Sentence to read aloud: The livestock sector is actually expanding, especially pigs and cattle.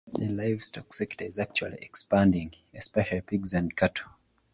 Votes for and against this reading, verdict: 2, 0, accepted